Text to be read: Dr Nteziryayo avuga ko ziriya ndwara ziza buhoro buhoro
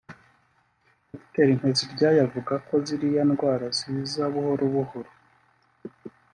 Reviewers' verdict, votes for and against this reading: accepted, 2, 0